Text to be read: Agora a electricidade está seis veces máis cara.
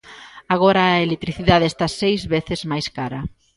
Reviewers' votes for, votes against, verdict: 2, 0, accepted